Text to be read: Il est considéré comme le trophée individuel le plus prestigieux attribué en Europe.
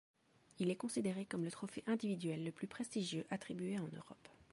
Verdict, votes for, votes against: accepted, 2, 1